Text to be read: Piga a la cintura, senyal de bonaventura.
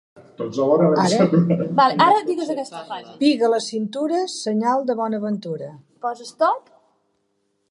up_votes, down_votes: 1, 2